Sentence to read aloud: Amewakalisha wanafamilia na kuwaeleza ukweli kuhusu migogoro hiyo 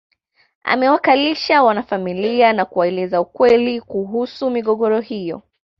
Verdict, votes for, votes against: accepted, 2, 0